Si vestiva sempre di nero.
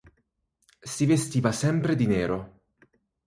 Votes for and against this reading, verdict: 4, 0, accepted